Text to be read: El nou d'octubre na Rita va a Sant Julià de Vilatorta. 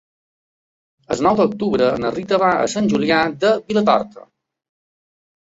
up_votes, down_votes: 3, 0